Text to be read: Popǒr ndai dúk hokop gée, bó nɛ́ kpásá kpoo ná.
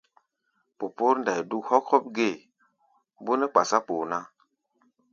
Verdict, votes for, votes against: accepted, 2, 0